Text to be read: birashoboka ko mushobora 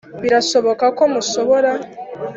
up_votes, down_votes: 3, 0